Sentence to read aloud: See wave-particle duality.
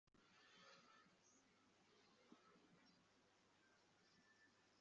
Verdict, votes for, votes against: rejected, 0, 2